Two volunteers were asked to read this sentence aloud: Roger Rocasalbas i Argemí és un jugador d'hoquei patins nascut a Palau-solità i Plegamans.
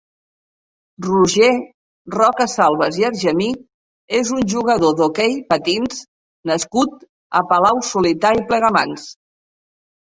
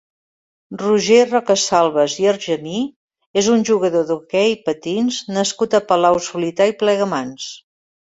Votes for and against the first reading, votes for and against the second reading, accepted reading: 0, 2, 2, 0, second